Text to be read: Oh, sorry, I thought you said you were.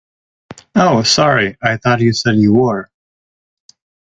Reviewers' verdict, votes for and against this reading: accepted, 2, 0